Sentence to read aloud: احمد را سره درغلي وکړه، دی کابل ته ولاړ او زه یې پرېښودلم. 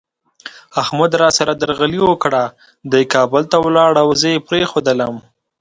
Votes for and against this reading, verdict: 2, 0, accepted